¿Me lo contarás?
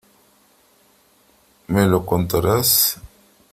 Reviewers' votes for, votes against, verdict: 3, 0, accepted